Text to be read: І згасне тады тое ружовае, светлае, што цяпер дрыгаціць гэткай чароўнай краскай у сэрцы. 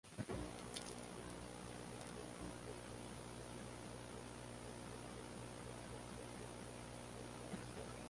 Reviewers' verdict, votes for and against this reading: rejected, 0, 2